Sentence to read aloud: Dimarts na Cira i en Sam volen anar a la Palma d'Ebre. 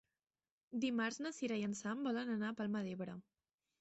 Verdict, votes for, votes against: rejected, 1, 2